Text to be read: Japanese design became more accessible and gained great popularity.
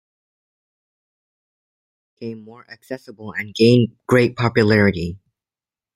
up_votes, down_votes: 1, 2